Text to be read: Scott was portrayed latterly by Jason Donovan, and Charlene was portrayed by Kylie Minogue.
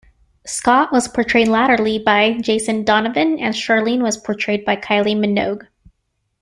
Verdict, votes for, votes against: accepted, 2, 0